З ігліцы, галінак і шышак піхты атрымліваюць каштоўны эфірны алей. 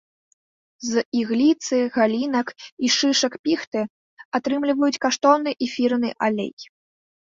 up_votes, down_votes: 3, 0